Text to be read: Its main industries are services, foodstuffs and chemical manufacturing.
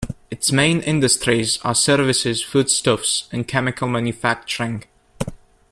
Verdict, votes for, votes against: accepted, 2, 0